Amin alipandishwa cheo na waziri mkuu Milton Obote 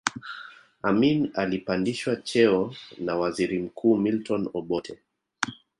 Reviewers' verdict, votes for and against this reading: rejected, 1, 2